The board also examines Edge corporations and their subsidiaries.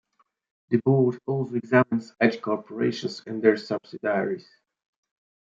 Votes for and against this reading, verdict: 0, 2, rejected